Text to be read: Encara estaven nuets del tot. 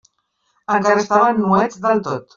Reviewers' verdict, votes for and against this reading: rejected, 1, 2